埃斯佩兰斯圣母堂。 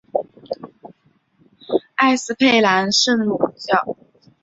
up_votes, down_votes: 1, 2